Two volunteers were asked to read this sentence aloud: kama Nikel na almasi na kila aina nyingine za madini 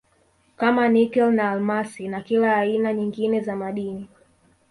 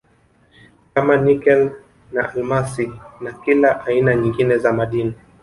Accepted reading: first